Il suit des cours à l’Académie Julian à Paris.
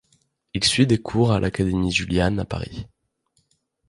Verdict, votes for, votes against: rejected, 1, 2